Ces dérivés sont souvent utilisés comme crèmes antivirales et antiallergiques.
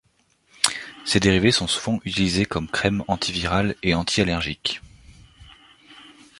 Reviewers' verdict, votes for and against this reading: accepted, 2, 0